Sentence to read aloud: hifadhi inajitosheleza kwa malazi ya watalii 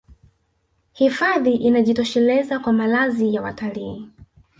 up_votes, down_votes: 1, 2